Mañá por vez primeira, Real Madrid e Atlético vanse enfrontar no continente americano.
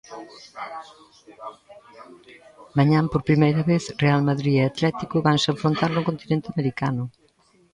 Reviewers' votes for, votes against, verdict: 0, 2, rejected